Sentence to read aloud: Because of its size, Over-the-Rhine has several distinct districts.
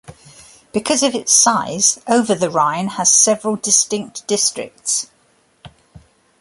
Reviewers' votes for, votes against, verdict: 3, 0, accepted